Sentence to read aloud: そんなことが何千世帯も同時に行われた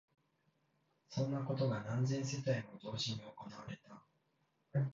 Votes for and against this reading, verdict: 0, 2, rejected